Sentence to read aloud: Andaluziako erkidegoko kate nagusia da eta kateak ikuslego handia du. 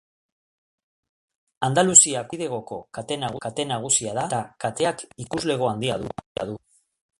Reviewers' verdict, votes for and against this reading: rejected, 0, 2